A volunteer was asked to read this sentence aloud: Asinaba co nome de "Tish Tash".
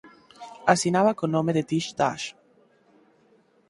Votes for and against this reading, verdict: 2, 4, rejected